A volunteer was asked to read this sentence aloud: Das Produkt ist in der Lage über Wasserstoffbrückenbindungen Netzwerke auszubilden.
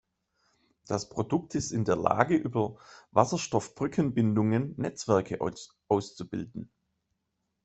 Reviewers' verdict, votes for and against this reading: rejected, 0, 2